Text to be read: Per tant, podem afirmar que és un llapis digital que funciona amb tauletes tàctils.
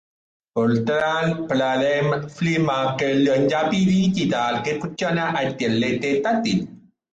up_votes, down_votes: 0, 2